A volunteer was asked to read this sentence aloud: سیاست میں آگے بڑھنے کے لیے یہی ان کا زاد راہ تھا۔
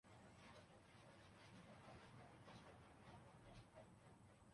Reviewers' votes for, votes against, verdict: 1, 2, rejected